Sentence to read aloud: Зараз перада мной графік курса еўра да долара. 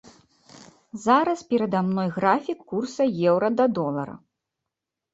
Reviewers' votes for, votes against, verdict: 2, 0, accepted